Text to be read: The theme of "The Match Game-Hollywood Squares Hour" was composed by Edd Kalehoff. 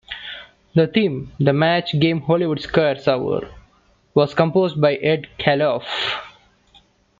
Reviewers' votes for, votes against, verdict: 0, 2, rejected